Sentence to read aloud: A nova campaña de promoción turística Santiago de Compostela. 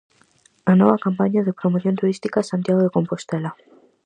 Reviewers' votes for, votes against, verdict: 4, 0, accepted